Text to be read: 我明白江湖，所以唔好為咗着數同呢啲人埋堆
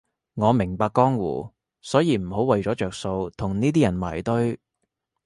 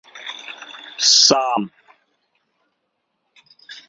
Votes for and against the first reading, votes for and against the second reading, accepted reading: 2, 0, 0, 2, first